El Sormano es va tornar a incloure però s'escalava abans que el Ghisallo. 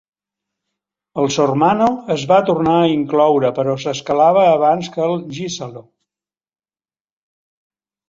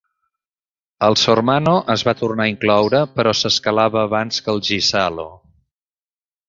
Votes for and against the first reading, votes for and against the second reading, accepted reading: 1, 2, 2, 1, second